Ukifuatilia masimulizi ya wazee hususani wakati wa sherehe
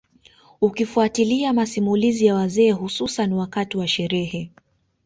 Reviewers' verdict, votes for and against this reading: rejected, 1, 2